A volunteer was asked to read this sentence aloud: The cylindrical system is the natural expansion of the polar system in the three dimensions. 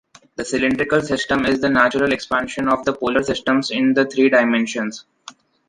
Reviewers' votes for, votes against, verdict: 1, 2, rejected